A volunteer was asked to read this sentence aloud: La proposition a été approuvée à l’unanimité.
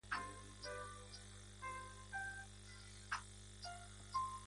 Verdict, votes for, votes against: rejected, 0, 2